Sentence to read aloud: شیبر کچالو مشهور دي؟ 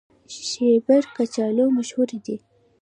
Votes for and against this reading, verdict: 2, 0, accepted